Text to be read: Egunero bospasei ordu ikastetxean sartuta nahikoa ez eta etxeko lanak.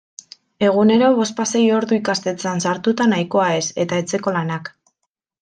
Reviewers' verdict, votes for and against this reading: accepted, 2, 0